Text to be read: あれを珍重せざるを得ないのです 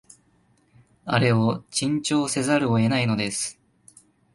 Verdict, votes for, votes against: accepted, 2, 0